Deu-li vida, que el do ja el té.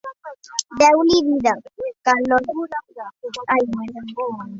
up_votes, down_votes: 1, 2